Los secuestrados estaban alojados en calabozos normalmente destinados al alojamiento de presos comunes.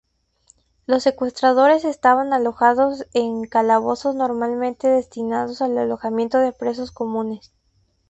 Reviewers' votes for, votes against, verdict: 0, 2, rejected